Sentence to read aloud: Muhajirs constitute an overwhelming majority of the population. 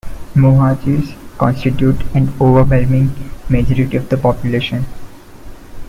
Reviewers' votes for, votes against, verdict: 2, 0, accepted